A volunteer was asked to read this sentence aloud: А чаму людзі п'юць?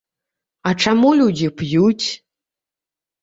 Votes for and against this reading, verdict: 2, 0, accepted